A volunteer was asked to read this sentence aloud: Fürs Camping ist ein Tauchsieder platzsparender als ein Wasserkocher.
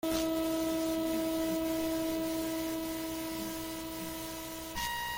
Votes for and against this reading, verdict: 0, 2, rejected